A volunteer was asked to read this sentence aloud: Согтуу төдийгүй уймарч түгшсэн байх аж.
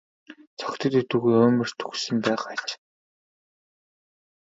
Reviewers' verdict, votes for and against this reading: rejected, 1, 2